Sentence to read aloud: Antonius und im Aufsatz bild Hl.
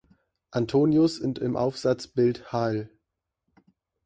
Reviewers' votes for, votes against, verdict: 1, 2, rejected